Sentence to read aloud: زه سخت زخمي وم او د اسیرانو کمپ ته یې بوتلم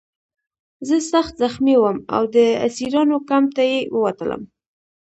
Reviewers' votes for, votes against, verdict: 0, 2, rejected